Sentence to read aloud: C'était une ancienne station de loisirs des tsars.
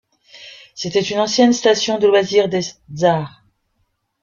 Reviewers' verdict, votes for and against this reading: rejected, 0, 2